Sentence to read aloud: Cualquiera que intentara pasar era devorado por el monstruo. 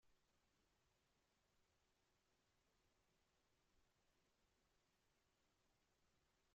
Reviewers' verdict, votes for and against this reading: rejected, 0, 2